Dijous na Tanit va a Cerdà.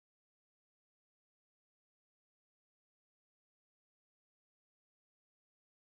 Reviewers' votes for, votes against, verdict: 0, 2, rejected